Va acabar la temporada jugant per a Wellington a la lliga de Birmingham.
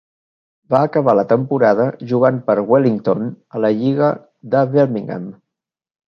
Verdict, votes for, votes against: rejected, 1, 2